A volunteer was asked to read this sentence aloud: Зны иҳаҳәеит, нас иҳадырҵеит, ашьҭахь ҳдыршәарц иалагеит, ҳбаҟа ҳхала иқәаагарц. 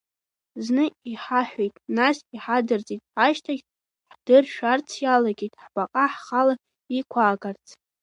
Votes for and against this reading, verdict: 0, 2, rejected